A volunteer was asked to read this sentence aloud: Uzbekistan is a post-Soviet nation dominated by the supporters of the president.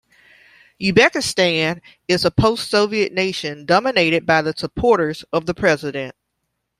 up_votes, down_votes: 0, 2